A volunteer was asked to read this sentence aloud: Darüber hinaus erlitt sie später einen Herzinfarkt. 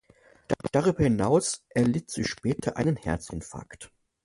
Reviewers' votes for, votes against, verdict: 0, 2, rejected